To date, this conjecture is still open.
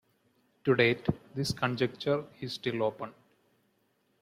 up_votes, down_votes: 2, 0